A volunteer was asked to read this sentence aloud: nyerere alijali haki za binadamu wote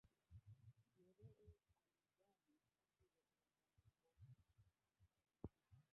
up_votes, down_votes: 0, 2